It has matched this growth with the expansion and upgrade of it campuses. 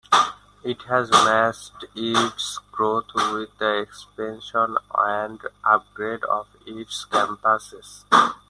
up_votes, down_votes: 0, 2